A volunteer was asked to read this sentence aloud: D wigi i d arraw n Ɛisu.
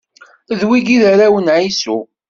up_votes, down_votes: 2, 0